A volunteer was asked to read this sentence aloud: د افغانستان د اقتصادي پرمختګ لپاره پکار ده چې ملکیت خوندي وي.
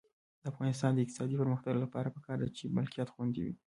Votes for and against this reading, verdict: 1, 2, rejected